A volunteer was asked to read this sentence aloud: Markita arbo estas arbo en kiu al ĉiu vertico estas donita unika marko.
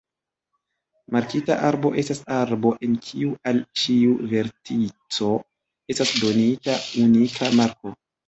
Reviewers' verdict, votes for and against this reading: accepted, 2, 0